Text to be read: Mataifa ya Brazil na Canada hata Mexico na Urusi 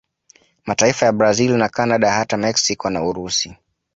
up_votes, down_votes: 2, 0